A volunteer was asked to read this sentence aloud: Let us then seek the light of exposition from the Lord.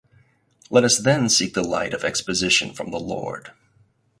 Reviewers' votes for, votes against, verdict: 4, 0, accepted